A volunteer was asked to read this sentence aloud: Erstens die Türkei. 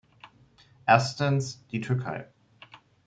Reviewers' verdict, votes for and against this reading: accepted, 2, 0